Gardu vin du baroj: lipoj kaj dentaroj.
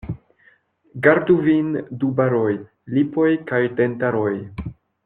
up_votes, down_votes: 1, 2